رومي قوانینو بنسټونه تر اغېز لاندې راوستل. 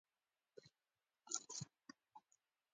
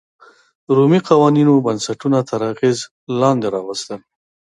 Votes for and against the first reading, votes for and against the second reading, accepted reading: 0, 2, 2, 0, second